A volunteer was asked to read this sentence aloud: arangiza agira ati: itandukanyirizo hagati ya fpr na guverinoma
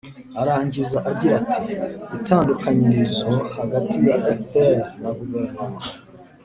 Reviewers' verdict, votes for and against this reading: accepted, 2, 0